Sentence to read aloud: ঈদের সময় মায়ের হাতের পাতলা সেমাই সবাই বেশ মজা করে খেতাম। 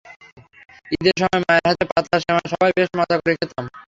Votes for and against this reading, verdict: 0, 3, rejected